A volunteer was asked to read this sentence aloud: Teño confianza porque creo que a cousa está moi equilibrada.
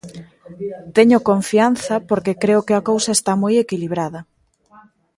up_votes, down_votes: 1, 2